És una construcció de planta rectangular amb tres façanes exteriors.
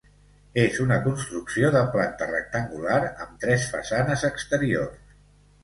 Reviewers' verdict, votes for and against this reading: accepted, 2, 0